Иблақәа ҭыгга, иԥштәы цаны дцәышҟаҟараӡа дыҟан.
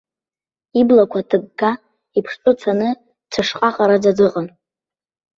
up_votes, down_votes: 2, 0